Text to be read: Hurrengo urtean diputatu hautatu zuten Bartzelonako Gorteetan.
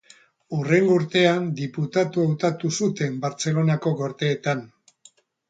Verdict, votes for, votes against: rejected, 0, 2